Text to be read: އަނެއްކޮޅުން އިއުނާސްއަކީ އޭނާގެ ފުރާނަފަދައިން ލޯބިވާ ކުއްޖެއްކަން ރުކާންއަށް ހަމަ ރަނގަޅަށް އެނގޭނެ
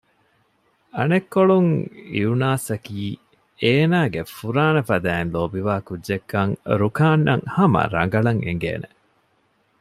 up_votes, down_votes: 2, 0